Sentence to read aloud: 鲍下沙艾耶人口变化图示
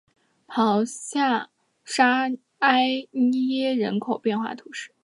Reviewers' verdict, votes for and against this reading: accepted, 2, 0